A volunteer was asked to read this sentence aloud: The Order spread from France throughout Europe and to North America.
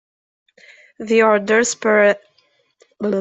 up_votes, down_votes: 0, 2